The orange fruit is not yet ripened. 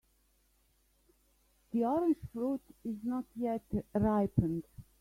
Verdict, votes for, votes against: rejected, 1, 2